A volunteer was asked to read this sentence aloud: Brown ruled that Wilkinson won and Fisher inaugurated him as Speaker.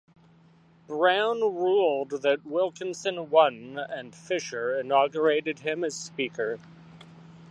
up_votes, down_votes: 2, 0